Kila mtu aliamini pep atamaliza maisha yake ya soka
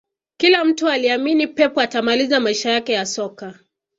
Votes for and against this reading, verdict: 2, 0, accepted